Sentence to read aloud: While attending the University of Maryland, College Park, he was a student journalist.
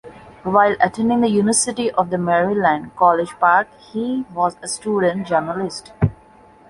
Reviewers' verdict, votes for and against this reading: rejected, 1, 2